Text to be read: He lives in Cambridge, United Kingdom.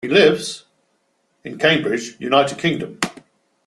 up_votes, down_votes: 2, 0